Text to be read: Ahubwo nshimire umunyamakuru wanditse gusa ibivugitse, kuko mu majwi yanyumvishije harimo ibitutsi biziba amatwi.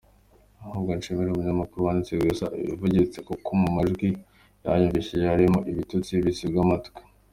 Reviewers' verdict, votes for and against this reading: accepted, 2, 1